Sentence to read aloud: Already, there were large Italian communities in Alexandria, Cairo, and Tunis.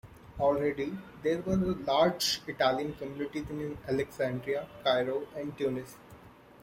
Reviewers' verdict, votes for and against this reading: rejected, 0, 2